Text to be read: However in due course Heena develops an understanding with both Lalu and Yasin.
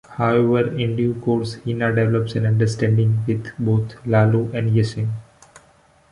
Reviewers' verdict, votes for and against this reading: rejected, 1, 2